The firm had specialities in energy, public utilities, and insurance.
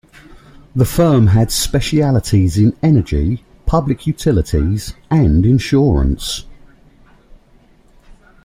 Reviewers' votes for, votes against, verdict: 2, 0, accepted